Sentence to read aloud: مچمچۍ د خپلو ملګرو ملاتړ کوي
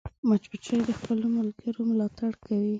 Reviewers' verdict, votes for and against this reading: accepted, 2, 0